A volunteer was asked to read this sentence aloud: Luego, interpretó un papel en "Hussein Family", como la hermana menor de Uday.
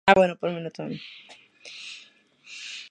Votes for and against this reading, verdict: 0, 2, rejected